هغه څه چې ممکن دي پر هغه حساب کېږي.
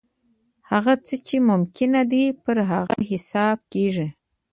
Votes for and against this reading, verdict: 1, 2, rejected